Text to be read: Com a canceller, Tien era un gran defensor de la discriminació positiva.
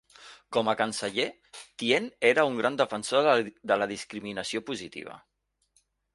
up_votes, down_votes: 1, 2